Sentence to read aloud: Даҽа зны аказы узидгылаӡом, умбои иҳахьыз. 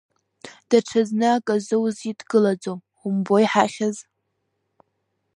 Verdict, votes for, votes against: rejected, 0, 2